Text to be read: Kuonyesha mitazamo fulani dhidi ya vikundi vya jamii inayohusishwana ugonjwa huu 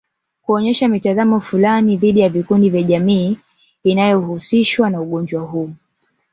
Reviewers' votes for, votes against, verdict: 1, 2, rejected